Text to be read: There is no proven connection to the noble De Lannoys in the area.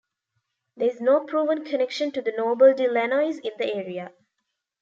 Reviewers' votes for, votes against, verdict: 1, 2, rejected